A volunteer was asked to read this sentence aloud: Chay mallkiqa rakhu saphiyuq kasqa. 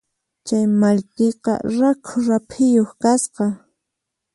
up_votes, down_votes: 0, 4